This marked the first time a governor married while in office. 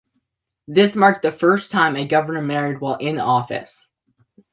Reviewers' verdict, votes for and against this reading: accepted, 2, 0